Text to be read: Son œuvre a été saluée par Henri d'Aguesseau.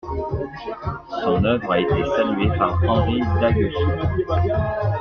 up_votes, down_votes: 0, 2